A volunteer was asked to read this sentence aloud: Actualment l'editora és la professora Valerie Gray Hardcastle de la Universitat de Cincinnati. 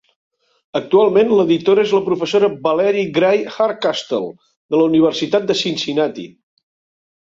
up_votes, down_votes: 2, 0